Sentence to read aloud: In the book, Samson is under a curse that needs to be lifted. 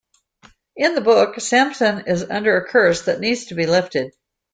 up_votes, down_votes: 2, 0